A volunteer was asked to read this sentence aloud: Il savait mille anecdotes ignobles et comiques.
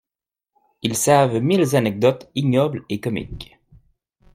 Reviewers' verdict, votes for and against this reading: rejected, 0, 2